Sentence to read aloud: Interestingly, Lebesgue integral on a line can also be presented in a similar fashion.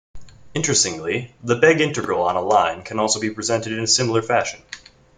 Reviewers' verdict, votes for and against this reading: rejected, 1, 2